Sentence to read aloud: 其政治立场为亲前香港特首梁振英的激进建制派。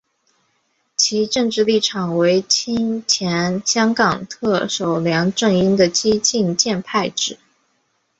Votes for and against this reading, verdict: 2, 3, rejected